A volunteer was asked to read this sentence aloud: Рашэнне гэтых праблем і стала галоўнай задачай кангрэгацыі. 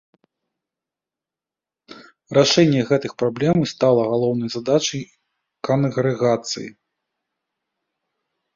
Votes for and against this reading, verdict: 1, 2, rejected